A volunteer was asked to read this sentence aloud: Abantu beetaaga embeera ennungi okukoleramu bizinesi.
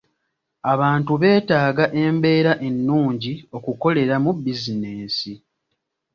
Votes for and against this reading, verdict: 2, 0, accepted